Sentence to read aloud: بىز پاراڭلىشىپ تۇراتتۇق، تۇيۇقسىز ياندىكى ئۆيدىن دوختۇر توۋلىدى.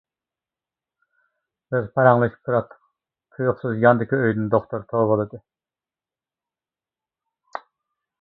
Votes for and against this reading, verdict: 0, 2, rejected